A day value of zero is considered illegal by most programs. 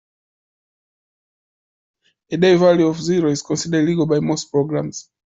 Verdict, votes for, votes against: accepted, 2, 0